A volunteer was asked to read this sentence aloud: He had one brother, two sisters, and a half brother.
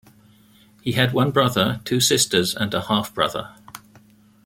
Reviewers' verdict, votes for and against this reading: accepted, 2, 0